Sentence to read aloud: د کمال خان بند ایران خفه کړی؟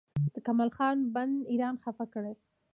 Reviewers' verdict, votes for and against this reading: rejected, 1, 2